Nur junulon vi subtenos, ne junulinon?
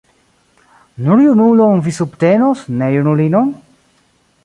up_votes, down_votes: 2, 0